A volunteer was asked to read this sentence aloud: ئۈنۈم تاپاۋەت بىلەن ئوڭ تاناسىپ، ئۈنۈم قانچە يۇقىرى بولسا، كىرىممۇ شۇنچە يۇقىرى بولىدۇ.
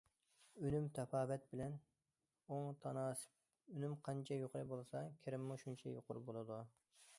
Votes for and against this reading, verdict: 2, 1, accepted